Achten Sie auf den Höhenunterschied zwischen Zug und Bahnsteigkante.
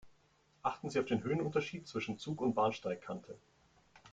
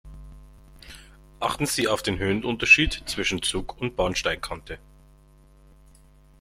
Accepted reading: first